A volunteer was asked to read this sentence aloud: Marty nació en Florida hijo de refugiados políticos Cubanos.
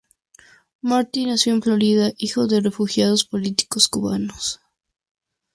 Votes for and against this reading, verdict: 4, 2, accepted